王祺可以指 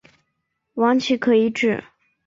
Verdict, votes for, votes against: accepted, 3, 0